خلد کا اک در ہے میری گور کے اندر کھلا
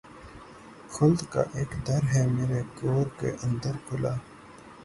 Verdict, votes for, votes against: accepted, 3, 0